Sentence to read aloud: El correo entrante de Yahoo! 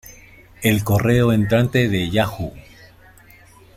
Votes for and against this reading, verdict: 2, 0, accepted